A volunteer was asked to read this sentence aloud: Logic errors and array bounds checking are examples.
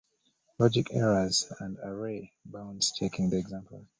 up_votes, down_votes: 0, 2